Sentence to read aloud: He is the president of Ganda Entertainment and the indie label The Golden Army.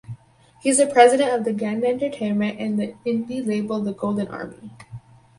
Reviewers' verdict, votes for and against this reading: rejected, 2, 2